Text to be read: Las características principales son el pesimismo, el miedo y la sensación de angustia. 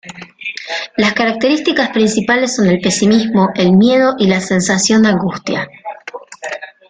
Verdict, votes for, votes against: accepted, 2, 0